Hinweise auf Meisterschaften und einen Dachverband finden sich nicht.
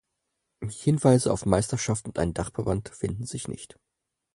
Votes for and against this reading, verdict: 4, 0, accepted